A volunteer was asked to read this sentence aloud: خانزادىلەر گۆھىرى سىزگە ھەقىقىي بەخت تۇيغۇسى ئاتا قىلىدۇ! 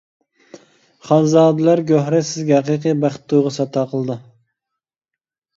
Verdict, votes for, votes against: accepted, 2, 0